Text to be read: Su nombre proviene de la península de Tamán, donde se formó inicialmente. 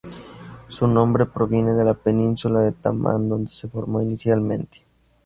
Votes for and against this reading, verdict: 2, 2, rejected